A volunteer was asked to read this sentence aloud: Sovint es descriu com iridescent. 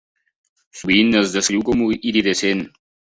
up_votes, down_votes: 1, 2